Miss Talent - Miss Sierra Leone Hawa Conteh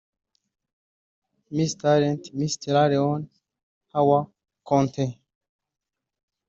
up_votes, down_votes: 1, 3